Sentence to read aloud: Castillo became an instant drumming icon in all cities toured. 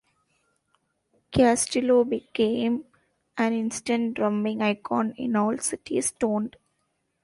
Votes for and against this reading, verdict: 1, 2, rejected